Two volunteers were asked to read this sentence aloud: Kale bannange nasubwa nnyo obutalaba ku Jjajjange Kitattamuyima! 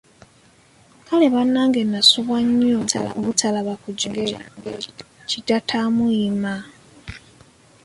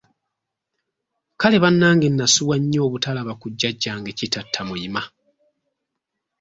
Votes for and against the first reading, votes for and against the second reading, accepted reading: 0, 2, 2, 0, second